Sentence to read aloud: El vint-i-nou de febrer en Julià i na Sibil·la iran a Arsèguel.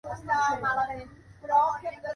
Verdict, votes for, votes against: rejected, 1, 2